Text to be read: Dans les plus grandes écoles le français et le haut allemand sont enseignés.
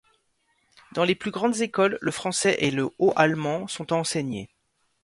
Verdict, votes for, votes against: accepted, 2, 0